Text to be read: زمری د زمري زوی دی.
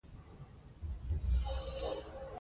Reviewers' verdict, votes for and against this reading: rejected, 1, 2